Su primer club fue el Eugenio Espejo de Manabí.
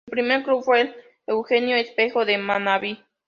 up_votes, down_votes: 2, 0